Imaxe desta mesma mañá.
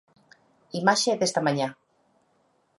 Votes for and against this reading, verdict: 1, 2, rejected